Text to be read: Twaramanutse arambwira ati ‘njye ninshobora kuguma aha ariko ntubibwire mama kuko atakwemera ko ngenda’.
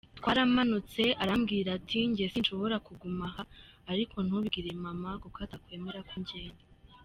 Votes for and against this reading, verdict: 0, 2, rejected